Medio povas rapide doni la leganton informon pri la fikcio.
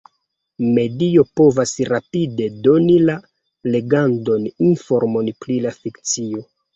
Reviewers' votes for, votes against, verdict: 1, 2, rejected